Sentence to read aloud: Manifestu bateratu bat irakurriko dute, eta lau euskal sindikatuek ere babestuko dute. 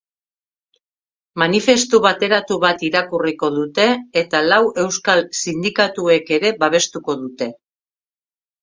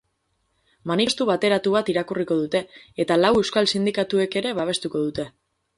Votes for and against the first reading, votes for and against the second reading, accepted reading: 4, 0, 0, 2, first